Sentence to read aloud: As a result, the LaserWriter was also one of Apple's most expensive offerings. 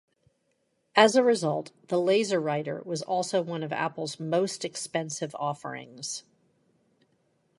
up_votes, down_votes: 2, 0